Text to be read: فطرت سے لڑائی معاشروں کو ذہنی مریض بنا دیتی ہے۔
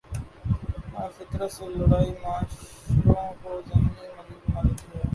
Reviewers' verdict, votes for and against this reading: rejected, 1, 2